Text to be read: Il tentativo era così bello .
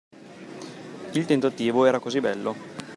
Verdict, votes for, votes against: accepted, 2, 0